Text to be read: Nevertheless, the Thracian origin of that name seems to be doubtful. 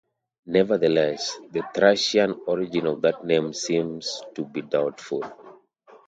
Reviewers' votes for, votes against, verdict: 2, 0, accepted